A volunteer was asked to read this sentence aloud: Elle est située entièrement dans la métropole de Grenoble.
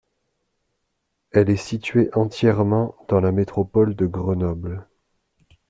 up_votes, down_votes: 2, 0